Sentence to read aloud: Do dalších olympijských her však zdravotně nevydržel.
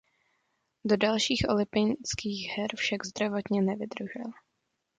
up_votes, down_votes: 1, 2